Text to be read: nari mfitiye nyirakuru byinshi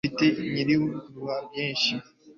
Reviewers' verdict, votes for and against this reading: rejected, 1, 2